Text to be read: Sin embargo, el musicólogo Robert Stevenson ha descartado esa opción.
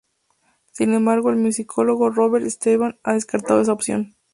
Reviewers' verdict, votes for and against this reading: rejected, 0, 2